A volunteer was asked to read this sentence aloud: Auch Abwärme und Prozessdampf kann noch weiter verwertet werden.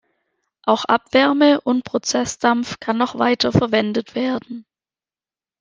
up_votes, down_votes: 2, 4